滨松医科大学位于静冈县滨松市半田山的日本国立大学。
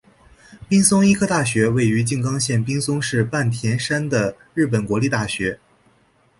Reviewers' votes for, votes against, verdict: 3, 0, accepted